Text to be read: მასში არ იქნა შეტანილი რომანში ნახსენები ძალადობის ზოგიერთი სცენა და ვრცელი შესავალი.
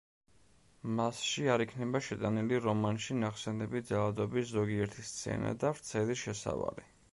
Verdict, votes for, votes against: rejected, 1, 2